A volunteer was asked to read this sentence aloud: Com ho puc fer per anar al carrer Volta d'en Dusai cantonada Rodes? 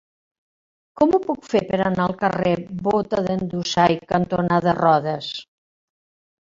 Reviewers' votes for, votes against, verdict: 1, 2, rejected